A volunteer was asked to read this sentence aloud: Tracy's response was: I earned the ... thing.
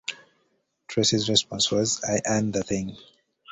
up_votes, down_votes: 2, 0